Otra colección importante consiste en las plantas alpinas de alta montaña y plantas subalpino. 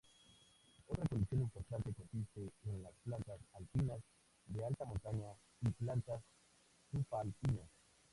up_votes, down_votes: 0, 4